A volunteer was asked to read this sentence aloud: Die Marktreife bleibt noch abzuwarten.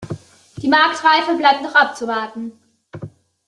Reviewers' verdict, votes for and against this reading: accepted, 3, 1